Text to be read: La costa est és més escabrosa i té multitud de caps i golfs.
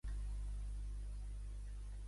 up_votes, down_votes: 0, 2